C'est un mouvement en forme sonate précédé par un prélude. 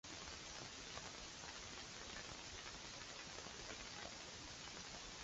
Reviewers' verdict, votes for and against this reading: rejected, 0, 2